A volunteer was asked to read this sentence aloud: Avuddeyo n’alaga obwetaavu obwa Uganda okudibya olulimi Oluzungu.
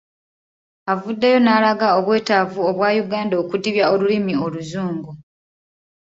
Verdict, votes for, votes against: accepted, 2, 0